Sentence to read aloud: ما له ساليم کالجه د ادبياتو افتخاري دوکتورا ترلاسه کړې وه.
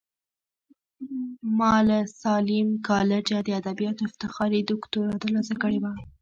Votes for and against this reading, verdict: 0, 2, rejected